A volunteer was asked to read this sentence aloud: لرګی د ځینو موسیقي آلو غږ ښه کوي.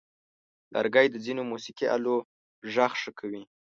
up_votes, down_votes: 11, 0